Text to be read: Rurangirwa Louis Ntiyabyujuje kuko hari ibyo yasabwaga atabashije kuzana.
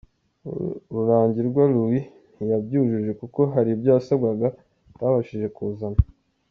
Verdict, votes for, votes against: accepted, 2, 0